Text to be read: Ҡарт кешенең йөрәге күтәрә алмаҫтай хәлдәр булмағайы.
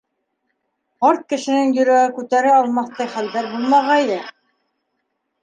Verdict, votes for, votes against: accepted, 2, 1